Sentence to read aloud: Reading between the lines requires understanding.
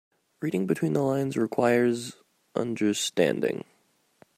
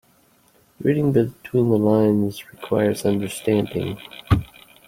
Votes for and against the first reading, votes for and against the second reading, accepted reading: 2, 0, 0, 2, first